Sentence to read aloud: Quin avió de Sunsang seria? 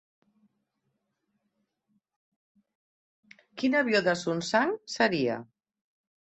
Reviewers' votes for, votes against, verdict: 3, 0, accepted